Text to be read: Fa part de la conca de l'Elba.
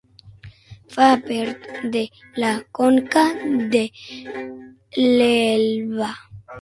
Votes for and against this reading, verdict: 0, 6, rejected